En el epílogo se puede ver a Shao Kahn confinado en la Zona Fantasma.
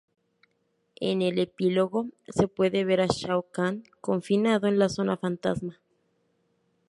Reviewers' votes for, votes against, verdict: 2, 2, rejected